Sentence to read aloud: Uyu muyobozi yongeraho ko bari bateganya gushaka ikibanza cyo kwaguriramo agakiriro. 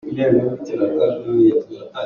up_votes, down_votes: 0, 2